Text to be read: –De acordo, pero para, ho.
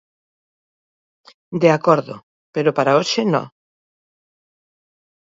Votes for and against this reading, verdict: 0, 2, rejected